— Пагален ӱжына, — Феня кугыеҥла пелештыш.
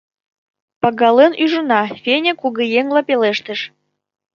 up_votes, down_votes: 2, 0